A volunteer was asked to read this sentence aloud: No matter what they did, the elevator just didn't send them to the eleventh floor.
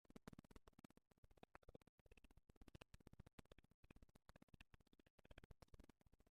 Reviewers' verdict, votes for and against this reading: rejected, 0, 2